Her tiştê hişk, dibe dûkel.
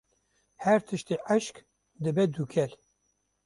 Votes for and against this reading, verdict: 0, 2, rejected